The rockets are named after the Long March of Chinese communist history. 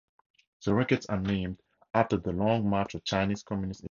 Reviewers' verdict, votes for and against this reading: rejected, 0, 2